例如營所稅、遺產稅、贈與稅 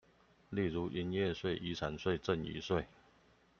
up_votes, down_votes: 0, 2